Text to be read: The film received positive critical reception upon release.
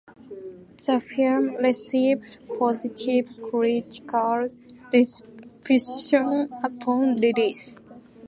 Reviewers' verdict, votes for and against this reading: rejected, 0, 2